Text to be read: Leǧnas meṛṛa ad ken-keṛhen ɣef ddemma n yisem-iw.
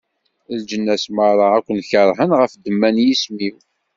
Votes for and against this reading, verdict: 2, 0, accepted